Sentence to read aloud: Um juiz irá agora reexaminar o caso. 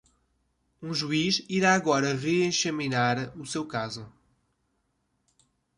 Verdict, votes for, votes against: rejected, 0, 2